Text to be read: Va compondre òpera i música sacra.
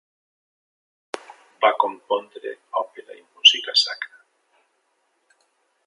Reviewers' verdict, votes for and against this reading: accepted, 3, 1